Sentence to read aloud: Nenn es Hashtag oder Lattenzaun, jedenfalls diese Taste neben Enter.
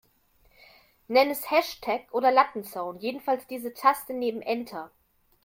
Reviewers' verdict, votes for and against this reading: accepted, 2, 0